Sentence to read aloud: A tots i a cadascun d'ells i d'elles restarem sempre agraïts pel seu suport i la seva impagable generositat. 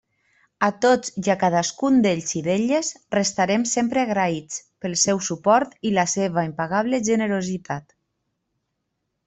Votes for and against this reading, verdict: 2, 0, accepted